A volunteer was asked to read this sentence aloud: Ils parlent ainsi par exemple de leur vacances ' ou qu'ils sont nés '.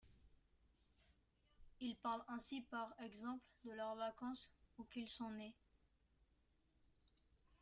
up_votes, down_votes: 1, 2